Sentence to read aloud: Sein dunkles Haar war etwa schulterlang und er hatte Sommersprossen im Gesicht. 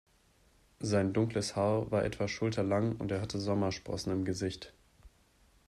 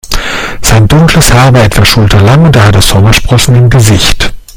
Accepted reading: first